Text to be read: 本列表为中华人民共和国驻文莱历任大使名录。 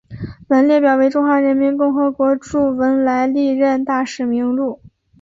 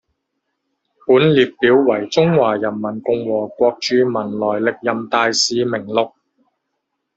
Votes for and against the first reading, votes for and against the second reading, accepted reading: 2, 0, 0, 2, first